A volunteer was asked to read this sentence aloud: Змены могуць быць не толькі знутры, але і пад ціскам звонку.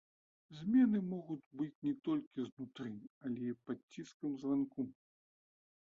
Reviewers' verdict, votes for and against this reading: rejected, 1, 2